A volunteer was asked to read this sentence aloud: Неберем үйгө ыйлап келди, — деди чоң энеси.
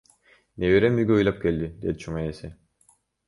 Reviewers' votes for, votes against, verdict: 0, 2, rejected